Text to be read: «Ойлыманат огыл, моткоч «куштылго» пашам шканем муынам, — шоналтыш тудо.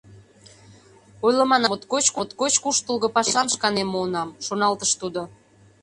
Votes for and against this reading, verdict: 0, 2, rejected